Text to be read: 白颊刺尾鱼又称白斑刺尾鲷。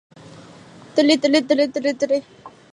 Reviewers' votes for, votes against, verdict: 0, 3, rejected